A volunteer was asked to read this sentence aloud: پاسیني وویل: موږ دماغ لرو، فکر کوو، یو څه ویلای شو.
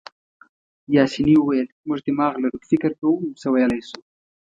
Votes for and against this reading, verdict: 1, 2, rejected